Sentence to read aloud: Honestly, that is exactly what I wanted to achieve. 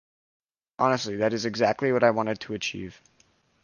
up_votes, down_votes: 2, 0